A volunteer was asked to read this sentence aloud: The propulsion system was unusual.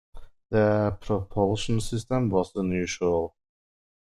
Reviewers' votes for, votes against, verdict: 1, 2, rejected